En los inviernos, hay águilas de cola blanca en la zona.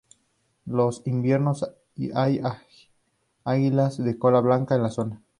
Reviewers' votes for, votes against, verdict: 0, 2, rejected